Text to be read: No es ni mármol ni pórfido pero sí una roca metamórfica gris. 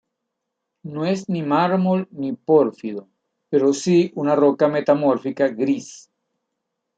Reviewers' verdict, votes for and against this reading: accepted, 2, 0